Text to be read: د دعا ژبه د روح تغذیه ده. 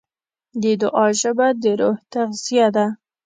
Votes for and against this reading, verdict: 2, 0, accepted